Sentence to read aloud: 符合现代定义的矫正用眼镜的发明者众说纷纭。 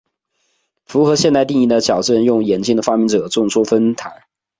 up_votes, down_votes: 2, 0